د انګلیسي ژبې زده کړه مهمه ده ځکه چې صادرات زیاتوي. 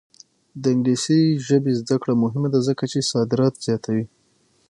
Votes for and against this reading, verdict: 3, 6, rejected